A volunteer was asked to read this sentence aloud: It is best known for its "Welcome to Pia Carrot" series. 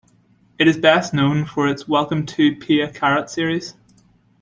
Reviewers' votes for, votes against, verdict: 2, 0, accepted